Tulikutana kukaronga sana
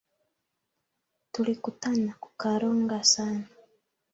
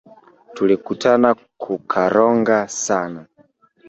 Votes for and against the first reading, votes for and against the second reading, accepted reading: 2, 1, 1, 2, first